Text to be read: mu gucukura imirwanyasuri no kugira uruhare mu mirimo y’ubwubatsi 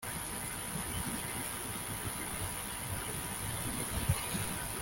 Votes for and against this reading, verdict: 0, 2, rejected